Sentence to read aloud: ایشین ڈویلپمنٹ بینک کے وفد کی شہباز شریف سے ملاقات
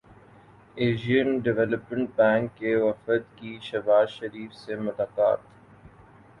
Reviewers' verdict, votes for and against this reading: accepted, 4, 1